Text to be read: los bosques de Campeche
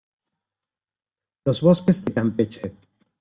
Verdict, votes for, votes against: rejected, 1, 2